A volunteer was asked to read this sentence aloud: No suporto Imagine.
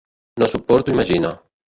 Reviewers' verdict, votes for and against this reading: rejected, 0, 2